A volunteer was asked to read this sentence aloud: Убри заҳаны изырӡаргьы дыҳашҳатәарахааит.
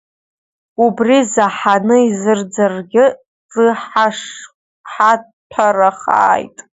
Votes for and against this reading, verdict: 1, 2, rejected